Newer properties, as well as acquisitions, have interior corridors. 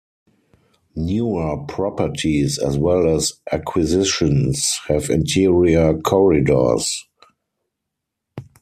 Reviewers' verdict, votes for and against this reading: accepted, 4, 0